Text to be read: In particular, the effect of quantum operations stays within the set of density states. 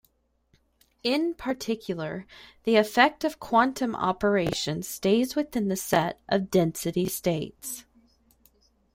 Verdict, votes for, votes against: accepted, 2, 0